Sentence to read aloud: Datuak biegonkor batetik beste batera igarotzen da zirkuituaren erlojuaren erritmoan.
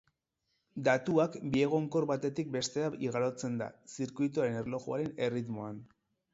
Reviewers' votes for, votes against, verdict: 0, 6, rejected